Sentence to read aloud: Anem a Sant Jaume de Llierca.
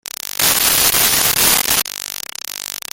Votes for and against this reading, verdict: 0, 2, rejected